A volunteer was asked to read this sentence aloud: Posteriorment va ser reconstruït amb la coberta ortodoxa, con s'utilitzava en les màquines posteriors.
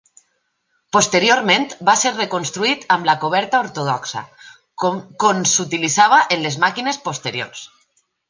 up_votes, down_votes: 0, 2